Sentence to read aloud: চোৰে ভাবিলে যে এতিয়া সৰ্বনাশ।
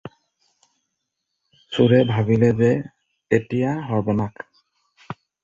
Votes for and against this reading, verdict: 2, 2, rejected